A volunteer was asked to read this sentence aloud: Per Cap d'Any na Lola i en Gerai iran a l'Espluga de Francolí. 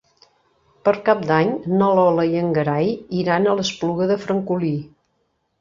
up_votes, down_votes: 0, 2